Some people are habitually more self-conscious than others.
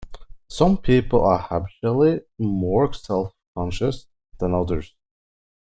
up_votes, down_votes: 2, 1